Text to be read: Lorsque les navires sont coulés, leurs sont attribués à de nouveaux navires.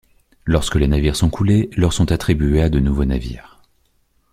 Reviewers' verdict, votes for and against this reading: rejected, 0, 2